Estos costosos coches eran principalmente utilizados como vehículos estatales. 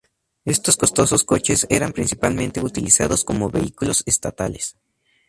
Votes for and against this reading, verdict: 2, 0, accepted